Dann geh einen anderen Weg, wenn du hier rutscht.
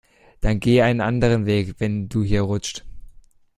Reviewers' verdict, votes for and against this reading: accepted, 2, 0